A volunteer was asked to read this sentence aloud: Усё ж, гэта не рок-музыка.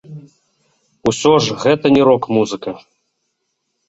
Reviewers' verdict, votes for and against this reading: accepted, 2, 1